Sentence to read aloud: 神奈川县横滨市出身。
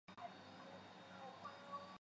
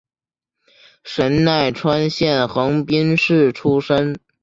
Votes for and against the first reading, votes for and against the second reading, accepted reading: 1, 3, 3, 0, second